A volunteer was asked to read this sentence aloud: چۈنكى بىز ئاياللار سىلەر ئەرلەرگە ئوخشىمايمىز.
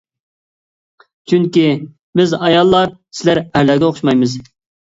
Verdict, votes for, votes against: accepted, 2, 0